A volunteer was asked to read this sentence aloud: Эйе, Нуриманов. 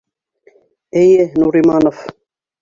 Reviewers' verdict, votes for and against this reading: accepted, 2, 1